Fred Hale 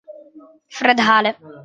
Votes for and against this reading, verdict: 2, 1, accepted